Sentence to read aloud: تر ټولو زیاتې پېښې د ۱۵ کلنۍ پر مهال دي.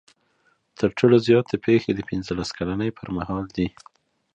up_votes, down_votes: 0, 2